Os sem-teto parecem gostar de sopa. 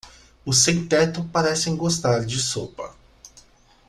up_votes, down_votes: 2, 0